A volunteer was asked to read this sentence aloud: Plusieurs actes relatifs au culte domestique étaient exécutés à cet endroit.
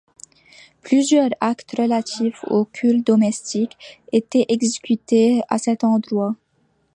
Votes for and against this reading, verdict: 2, 0, accepted